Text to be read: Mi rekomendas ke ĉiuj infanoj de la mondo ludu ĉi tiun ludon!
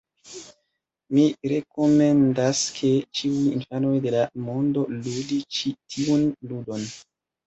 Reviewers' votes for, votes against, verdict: 1, 2, rejected